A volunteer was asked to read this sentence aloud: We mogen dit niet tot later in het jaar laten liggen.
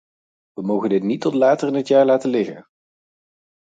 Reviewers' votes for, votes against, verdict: 4, 0, accepted